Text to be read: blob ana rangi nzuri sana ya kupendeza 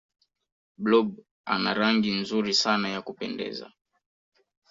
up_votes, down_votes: 2, 0